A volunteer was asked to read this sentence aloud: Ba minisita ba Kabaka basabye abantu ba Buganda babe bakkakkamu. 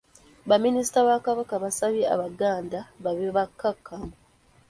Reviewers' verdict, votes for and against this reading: rejected, 0, 2